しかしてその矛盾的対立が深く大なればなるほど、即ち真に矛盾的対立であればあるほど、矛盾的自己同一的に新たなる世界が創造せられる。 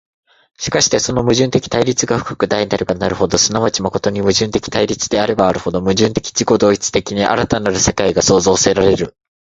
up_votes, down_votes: 2, 0